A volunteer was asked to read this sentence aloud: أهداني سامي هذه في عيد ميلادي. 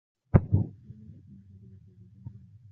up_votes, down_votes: 0, 2